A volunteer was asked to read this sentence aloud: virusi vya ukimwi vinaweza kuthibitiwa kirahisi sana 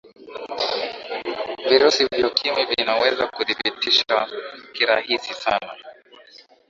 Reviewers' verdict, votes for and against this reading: rejected, 0, 2